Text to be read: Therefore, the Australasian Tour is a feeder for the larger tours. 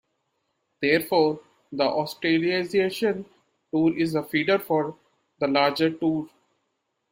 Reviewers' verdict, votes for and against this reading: rejected, 0, 2